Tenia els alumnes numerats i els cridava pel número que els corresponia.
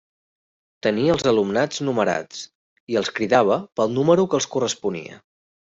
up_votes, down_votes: 0, 2